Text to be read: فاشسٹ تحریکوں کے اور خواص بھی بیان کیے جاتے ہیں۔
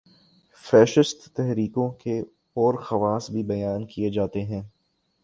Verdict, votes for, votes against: rejected, 2, 5